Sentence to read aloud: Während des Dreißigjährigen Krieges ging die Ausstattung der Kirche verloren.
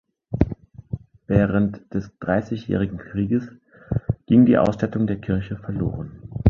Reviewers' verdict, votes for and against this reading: accepted, 2, 0